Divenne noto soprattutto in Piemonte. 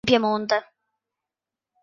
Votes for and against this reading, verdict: 0, 2, rejected